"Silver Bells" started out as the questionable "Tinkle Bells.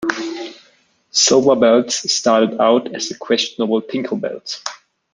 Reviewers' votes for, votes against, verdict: 1, 2, rejected